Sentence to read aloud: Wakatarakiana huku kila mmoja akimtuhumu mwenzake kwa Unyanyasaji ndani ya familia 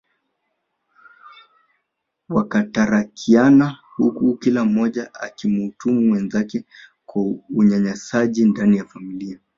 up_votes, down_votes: 3, 1